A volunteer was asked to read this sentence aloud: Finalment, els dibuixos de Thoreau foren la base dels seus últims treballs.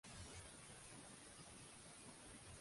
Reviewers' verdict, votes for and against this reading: rejected, 0, 2